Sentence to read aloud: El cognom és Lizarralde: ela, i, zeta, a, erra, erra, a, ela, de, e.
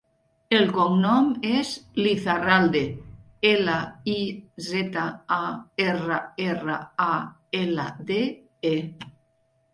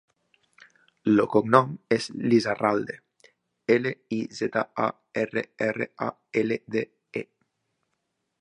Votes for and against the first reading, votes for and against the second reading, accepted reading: 2, 0, 1, 2, first